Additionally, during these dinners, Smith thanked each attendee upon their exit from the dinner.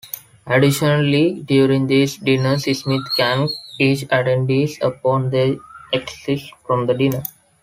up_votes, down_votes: 1, 2